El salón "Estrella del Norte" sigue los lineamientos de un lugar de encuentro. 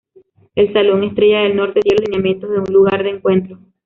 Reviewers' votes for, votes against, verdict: 1, 2, rejected